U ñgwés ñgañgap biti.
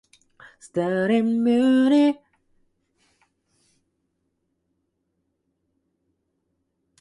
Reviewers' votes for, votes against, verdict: 0, 2, rejected